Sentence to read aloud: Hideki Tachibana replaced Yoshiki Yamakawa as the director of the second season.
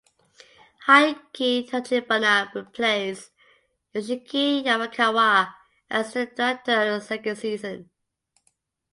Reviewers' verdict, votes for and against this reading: rejected, 0, 2